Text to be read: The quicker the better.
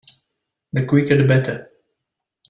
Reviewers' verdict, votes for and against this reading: accepted, 2, 0